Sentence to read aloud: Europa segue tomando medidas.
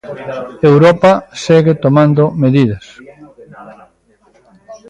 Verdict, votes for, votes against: rejected, 1, 2